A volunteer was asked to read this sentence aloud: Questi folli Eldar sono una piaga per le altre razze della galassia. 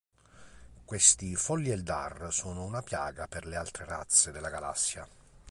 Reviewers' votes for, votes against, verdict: 3, 0, accepted